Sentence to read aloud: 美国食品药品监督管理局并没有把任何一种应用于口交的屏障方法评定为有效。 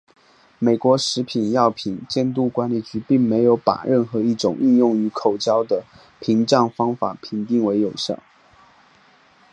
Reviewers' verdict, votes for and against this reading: accepted, 3, 0